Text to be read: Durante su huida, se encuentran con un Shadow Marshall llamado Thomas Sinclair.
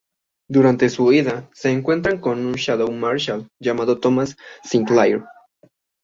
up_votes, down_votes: 2, 1